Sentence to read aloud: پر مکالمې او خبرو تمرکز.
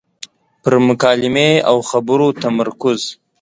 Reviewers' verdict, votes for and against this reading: accepted, 2, 0